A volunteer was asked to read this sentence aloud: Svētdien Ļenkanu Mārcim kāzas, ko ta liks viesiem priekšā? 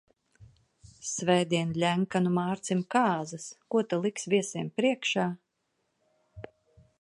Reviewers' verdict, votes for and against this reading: accepted, 2, 0